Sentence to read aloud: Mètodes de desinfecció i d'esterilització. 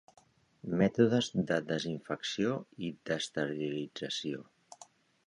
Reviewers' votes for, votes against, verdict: 2, 0, accepted